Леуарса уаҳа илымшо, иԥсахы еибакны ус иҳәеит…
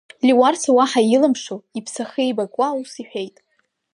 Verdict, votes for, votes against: rejected, 1, 2